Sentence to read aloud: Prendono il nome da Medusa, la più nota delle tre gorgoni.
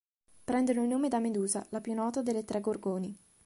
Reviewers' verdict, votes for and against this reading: accepted, 2, 0